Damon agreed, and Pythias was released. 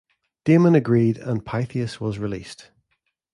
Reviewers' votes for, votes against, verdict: 2, 0, accepted